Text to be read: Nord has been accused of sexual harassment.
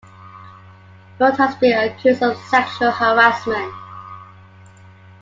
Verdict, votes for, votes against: accepted, 2, 0